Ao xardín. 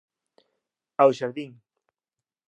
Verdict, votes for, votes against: rejected, 1, 2